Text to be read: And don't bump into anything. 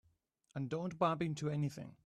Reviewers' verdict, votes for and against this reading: accepted, 3, 0